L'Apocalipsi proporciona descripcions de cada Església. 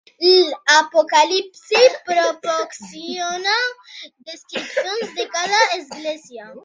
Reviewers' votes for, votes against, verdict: 2, 0, accepted